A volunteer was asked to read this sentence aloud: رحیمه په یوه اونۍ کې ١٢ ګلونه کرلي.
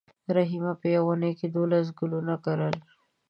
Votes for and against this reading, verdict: 0, 2, rejected